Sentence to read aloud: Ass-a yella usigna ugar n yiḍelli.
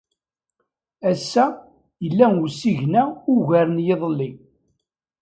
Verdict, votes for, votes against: accepted, 2, 0